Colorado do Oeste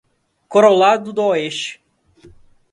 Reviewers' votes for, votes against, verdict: 0, 2, rejected